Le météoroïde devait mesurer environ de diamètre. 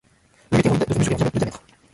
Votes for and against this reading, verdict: 0, 2, rejected